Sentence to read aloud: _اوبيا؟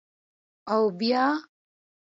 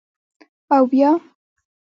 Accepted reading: first